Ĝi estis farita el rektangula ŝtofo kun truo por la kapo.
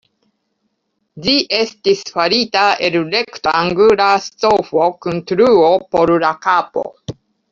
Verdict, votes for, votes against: rejected, 1, 2